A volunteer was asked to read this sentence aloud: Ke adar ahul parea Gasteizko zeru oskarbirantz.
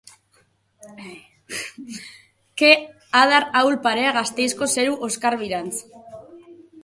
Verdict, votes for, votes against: accepted, 2, 1